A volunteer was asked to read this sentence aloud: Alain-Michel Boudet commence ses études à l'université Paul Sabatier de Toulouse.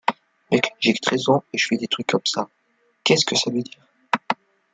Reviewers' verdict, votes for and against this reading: rejected, 0, 2